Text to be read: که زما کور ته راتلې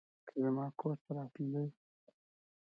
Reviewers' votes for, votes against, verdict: 2, 0, accepted